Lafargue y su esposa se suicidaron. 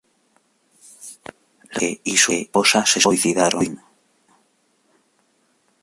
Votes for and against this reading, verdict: 0, 2, rejected